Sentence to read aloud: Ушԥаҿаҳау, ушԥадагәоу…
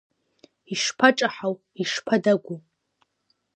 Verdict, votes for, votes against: rejected, 1, 2